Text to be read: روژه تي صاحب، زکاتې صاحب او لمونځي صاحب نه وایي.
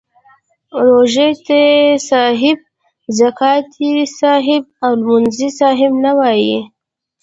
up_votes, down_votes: 0, 2